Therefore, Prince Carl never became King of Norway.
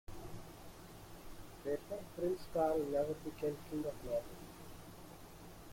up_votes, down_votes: 0, 2